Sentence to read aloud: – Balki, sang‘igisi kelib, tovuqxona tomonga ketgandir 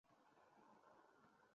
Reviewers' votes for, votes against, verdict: 0, 2, rejected